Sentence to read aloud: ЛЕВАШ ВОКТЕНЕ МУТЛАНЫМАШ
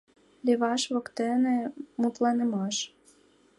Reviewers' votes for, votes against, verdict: 2, 0, accepted